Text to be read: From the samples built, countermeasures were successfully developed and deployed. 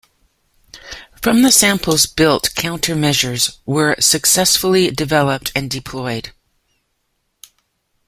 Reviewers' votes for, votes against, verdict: 2, 0, accepted